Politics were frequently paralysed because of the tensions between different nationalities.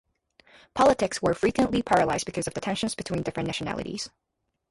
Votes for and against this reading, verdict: 2, 0, accepted